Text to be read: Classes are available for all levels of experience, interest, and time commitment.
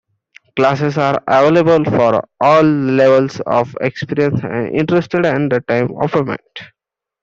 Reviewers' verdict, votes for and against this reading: rejected, 1, 2